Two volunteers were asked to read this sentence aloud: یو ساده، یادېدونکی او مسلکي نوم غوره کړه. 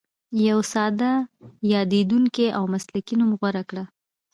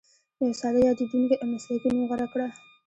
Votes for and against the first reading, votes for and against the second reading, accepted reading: 1, 2, 2, 0, second